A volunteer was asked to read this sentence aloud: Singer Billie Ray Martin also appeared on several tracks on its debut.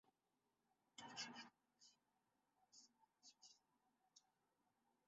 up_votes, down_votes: 0, 2